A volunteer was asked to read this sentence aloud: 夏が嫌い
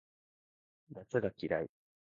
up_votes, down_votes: 0, 2